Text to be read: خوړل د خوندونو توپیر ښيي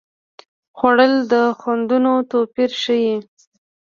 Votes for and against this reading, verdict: 2, 0, accepted